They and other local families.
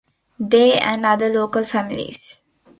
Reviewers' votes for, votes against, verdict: 2, 1, accepted